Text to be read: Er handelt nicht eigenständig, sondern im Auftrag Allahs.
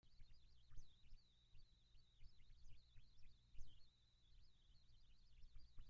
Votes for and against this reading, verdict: 0, 2, rejected